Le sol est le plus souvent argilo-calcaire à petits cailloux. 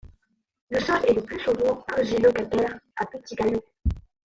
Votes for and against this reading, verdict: 1, 2, rejected